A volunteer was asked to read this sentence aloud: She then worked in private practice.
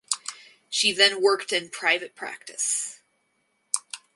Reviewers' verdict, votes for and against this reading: accepted, 4, 0